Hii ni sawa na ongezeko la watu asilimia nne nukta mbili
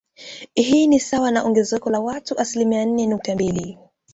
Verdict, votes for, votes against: accepted, 2, 0